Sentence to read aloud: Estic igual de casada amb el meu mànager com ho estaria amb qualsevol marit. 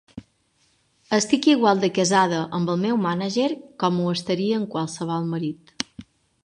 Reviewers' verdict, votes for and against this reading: accepted, 2, 0